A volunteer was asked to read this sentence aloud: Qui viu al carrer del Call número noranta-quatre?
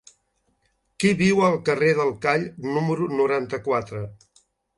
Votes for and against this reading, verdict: 5, 0, accepted